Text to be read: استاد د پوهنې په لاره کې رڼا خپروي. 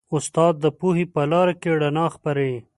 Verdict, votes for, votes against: rejected, 1, 2